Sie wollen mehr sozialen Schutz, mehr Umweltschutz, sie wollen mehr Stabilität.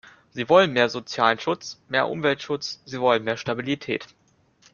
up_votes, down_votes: 2, 0